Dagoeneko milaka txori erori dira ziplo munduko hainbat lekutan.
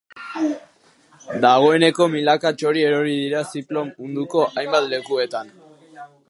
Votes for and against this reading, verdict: 0, 2, rejected